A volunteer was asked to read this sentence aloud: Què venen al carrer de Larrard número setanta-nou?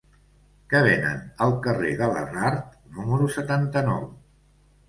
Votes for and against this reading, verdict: 1, 2, rejected